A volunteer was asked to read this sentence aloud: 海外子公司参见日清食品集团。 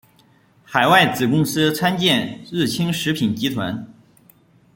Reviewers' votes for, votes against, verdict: 2, 1, accepted